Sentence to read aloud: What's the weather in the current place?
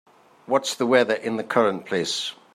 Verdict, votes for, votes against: accepted, 3, 0